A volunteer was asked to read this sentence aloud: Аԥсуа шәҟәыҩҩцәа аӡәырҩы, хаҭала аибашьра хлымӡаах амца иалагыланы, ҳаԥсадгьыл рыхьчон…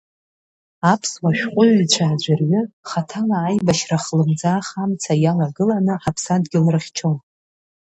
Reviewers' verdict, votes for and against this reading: accepted, 2, 0